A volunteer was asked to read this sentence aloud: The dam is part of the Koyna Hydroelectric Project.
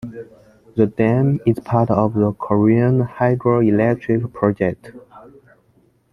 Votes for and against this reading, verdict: 0, 2, rejected